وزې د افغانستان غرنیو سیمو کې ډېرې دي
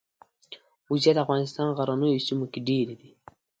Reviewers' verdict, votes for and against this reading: accepted, 2, 0